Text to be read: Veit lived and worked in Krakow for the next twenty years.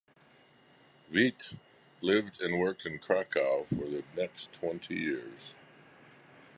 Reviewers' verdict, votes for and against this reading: accepted, 2, 0